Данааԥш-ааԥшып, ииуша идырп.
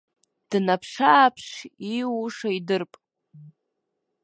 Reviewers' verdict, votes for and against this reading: rejected, 1, 2